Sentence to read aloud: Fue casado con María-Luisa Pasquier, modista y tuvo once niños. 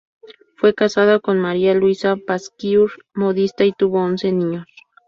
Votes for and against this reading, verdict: 0, 2, rejected